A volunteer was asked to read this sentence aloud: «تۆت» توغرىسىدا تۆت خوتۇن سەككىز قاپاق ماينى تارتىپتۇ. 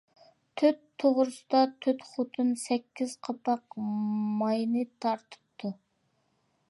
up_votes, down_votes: 2, 0